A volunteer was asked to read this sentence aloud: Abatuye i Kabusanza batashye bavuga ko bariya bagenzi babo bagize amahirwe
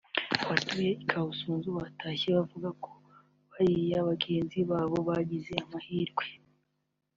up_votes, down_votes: 2, 1